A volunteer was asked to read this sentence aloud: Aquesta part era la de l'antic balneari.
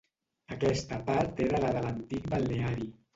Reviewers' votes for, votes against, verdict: 1, 2, rejected